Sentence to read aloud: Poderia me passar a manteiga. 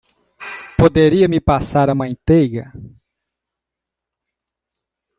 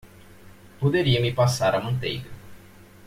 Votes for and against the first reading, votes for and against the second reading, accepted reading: 0, 2, 2, 0, second